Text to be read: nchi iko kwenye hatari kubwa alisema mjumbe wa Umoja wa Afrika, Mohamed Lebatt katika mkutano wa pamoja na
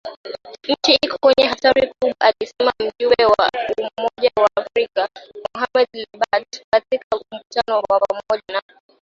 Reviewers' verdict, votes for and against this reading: rejected, 1, 2